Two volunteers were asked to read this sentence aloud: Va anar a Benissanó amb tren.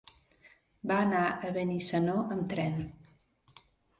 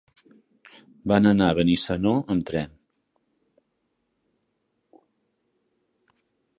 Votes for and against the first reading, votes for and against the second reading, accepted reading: 3, 0, 0, 2, first